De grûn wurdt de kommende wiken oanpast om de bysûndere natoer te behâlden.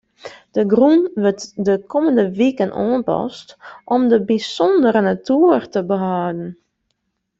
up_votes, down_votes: 2, 0